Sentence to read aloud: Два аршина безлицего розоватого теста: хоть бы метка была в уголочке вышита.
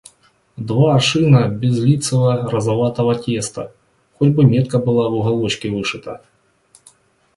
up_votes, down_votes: 1, 2